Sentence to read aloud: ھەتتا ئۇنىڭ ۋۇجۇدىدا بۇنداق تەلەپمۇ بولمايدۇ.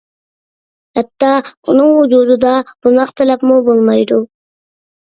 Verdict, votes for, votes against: accepted, 2, 0